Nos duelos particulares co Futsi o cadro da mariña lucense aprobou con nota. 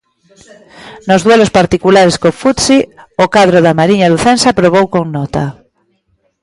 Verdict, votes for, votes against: accepted, 2, 0